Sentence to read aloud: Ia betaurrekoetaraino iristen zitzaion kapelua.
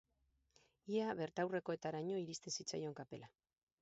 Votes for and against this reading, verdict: 2, 2, rejected